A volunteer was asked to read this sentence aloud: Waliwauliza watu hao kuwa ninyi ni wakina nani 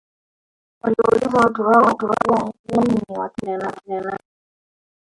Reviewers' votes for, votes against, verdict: 1, 2, rejected